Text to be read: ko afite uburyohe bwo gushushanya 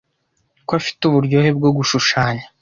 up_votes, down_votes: 2, 0